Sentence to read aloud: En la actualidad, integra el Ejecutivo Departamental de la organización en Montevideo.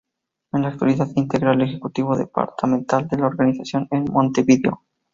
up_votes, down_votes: 2, 0